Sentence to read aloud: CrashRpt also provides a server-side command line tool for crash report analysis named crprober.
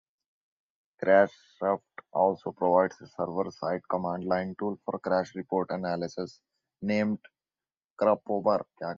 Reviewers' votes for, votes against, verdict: 1, 2, rejected